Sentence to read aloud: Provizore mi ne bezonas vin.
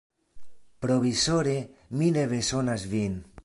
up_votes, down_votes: 2, 0